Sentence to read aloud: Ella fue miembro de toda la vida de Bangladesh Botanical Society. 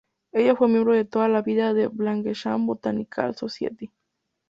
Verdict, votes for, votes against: rejected, 2, 2